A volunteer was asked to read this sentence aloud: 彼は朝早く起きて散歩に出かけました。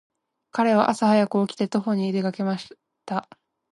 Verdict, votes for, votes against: rejected, 0, 2